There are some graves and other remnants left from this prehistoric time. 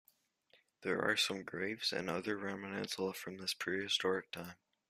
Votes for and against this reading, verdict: 2, 1, accepted